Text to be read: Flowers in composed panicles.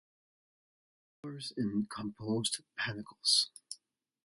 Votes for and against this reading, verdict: 1, 3, rejected